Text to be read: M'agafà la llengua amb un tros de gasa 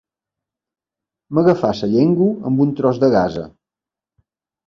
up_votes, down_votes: 0, 2